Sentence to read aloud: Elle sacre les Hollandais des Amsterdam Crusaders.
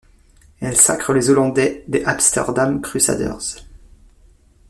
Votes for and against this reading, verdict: 2, 1, accepted